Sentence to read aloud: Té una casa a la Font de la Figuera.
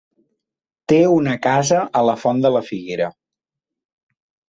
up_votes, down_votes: 3, 0